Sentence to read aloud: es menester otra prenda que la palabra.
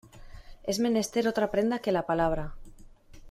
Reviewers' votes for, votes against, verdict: 2, 0, accepted